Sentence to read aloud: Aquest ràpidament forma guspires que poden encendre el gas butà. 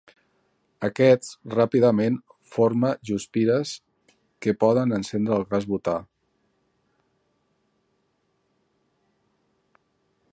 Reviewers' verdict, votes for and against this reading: rejected, 1, 2